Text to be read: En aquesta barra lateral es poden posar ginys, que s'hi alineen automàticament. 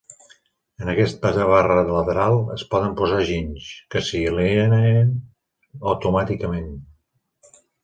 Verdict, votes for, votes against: rejected, 1, 2